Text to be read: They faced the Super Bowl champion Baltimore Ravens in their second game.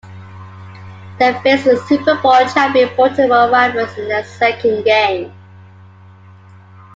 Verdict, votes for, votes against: accepted, 2, 1